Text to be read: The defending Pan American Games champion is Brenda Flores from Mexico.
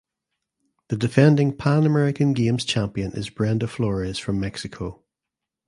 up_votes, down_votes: 2, 0